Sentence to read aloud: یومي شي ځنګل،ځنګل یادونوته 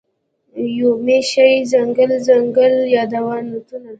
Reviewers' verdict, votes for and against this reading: rejected, 0, 2